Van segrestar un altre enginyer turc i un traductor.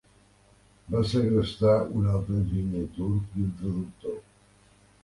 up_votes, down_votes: 0, 3